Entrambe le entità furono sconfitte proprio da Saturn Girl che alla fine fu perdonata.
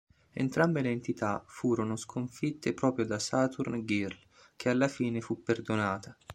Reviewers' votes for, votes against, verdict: 2, 1, accepted